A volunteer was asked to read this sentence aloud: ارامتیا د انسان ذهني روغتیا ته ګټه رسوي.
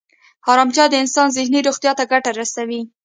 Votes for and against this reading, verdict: 2, 0, accepted